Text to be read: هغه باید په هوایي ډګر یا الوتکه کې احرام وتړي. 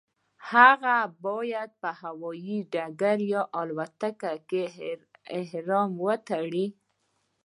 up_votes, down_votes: 2, 1